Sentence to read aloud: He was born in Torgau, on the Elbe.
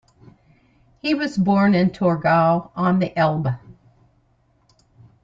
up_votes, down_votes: 2, 0